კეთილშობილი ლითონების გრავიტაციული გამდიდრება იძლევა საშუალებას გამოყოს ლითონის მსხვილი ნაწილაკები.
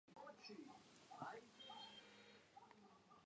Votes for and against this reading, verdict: 0, 2, rejected